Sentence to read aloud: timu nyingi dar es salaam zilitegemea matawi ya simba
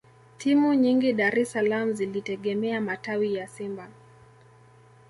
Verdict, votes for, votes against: accepted, 2, 0